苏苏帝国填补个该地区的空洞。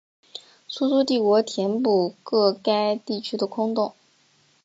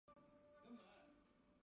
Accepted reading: first